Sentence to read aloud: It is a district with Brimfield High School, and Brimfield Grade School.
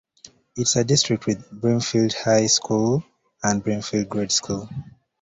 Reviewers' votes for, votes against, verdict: 2, 0, accepted